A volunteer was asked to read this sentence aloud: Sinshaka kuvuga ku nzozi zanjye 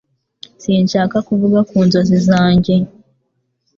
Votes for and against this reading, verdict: 2, 1, accepted